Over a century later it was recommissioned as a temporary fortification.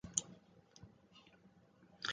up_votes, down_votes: 0, 2